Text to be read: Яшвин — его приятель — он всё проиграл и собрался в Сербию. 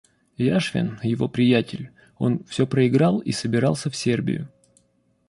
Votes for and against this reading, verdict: 0, 2, rejected